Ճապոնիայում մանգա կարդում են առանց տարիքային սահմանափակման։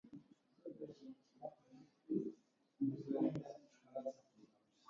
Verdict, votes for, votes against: rejected, 0, 2